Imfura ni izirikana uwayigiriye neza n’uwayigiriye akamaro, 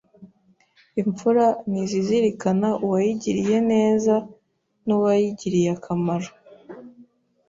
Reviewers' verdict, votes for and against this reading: rejected, 1, 2